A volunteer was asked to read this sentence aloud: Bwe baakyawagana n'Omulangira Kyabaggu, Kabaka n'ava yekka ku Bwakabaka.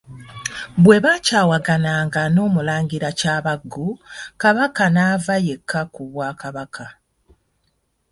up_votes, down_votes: 0, 2